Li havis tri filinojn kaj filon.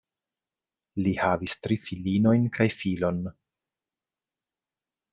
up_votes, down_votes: 2, 0